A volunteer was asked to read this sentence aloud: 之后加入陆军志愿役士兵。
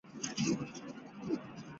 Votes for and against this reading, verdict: 3, 2, accepted